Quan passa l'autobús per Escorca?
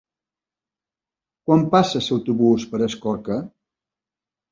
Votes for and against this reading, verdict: 1, 2, rejected